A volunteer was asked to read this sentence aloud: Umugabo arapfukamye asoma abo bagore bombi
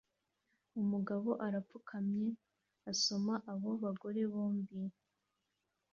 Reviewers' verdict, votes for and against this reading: accepted, 2, 0